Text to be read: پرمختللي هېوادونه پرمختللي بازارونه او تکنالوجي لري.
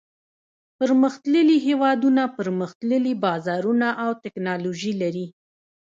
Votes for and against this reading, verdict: 1, 2, rejected